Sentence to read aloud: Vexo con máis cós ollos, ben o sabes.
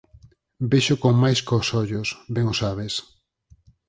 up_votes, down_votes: 4, 0